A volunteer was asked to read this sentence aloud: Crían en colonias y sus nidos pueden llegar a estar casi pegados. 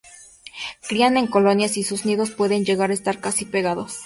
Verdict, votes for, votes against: accepted, 2, 0